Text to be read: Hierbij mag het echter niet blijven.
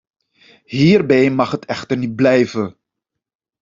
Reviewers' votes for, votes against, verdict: 2, 0, accepted